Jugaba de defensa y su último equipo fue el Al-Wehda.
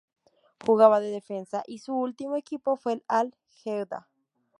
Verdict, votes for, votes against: rejected, 0, 2